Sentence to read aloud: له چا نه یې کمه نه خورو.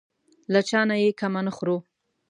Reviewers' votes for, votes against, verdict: 2, 0, accepted